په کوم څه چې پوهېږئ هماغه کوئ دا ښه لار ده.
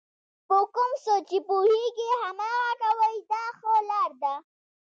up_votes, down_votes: 1, 2